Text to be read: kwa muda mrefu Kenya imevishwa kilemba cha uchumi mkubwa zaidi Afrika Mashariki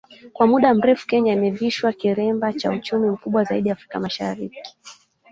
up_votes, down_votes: 2, 0